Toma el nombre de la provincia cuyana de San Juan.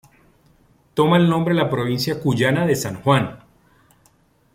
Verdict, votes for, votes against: rejected, 1, 2